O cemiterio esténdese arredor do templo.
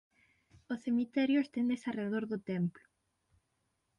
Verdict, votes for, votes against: accepted, 6, 0